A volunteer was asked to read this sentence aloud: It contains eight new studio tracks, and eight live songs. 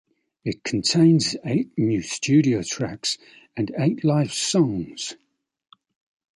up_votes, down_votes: 2, 0